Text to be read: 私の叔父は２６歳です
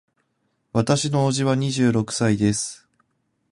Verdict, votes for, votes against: rejected, 0, 2